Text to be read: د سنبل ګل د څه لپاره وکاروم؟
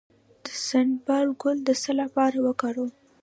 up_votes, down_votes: 2, 0